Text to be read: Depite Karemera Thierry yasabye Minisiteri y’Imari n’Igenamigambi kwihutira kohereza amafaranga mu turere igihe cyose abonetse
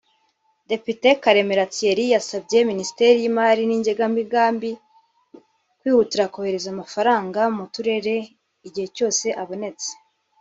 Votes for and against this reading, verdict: 1, 2, rejected